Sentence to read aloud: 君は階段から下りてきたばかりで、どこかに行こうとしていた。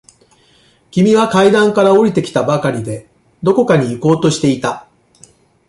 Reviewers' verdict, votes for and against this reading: accepted, 2, 0